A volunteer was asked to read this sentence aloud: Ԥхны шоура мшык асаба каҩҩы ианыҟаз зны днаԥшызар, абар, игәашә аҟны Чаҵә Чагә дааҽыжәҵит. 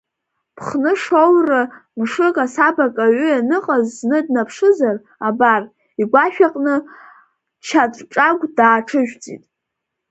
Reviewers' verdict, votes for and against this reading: rejected, 1, 2